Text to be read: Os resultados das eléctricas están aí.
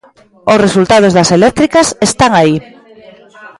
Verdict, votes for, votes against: rejected, 1, 2